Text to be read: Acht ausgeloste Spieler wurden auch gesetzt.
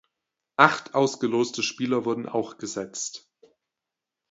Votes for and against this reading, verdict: 2, 0, accepted